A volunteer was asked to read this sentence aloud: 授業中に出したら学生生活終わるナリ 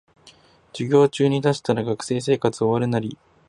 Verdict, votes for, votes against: rejected, 0, 2